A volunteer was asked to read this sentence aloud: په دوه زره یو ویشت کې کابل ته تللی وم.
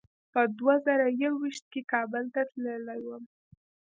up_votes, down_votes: 3, 1